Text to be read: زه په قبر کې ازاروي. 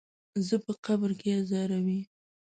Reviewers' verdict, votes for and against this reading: accepted, 2, 0